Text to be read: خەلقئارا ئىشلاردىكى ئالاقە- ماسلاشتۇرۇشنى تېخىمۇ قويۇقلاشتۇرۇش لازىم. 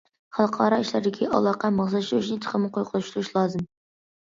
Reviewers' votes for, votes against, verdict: 1, 2, rejected